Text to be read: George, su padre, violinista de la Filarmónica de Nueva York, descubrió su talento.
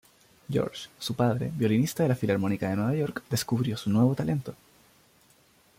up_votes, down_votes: 1, 2